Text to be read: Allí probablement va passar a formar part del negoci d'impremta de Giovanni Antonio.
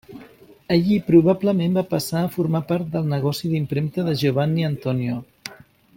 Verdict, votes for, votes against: accepted, 2, 0